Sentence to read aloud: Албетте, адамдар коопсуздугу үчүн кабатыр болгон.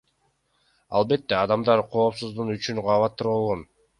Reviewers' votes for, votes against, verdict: 2, 0, accepted